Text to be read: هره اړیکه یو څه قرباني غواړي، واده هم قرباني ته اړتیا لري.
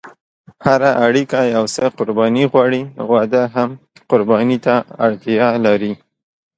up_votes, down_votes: 2, 0